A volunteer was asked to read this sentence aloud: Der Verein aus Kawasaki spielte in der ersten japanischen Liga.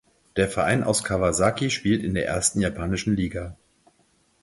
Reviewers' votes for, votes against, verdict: 0, 4, rejected